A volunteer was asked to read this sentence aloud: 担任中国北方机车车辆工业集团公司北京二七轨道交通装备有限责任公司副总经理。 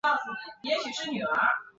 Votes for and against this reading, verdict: 0, 4, rejected